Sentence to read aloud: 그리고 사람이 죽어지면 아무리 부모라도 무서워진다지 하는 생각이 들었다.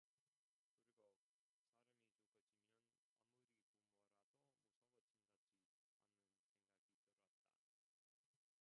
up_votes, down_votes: 0, 2